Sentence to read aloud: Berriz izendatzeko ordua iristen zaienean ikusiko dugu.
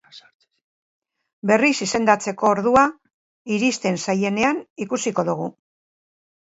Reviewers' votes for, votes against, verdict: 1, 2, rejected